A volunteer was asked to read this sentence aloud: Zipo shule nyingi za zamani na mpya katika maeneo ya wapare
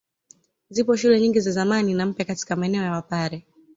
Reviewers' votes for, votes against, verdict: 2, 0, accepted